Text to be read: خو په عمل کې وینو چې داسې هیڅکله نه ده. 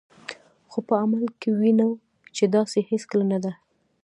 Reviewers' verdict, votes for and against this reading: rejected, 0, 2